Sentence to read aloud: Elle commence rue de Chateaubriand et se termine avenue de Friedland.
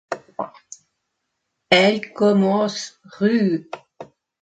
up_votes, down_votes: 0, 2